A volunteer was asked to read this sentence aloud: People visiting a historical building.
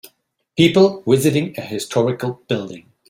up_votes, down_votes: 2, 1